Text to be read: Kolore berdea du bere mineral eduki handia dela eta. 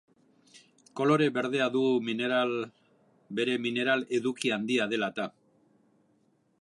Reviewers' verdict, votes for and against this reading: rejected, 1, 2